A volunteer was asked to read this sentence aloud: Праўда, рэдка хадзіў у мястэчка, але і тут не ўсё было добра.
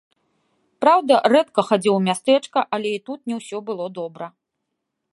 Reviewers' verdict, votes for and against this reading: accepted, 2, 0